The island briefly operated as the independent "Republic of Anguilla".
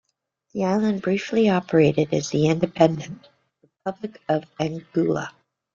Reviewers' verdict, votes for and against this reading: rejected, 0, 2